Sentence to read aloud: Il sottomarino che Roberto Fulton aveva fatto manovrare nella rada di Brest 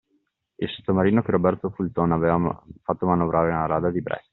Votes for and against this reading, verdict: 0, 2, rejected